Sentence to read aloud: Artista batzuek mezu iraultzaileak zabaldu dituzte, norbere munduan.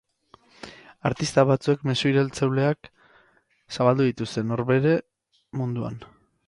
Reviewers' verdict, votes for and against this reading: rejected, 0, 4